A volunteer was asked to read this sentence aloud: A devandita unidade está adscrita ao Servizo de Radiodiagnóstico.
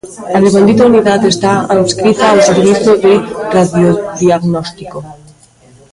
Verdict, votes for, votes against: rejected, 0, 2